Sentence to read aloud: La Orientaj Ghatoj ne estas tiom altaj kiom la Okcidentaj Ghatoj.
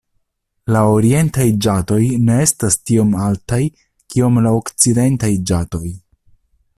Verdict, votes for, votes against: rejected, 0, 2